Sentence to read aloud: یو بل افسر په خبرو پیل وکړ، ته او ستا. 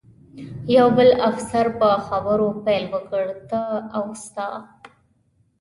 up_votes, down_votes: 2, 0